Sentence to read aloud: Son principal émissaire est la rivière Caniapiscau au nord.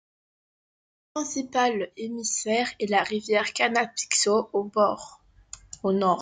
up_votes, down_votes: 0, 2